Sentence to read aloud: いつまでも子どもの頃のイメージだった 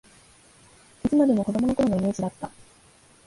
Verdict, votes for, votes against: accepted, 20, 6